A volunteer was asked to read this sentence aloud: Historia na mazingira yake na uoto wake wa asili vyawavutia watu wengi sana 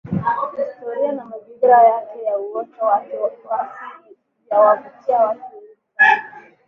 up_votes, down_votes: 0, 2